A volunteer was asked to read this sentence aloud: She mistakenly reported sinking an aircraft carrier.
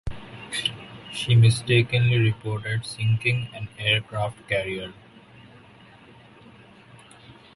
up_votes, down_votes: 1, 2